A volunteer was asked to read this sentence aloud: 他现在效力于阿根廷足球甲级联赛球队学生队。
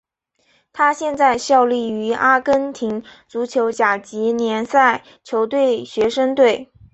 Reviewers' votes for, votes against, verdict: 3, 0, accepted